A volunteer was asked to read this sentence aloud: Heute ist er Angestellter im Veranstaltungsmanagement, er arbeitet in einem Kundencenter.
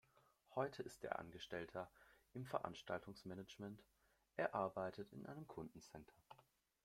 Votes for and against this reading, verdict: 2, 0, accepted